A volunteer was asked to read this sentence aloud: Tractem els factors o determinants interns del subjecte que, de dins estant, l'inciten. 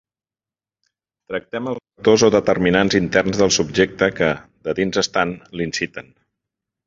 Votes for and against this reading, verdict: 0, 2, rejected